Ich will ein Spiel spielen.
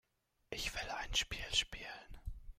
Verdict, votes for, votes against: accepted, 2, 0